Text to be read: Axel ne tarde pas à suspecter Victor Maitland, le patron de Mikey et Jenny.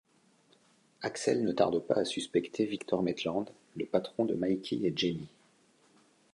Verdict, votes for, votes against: accepted, 2, 0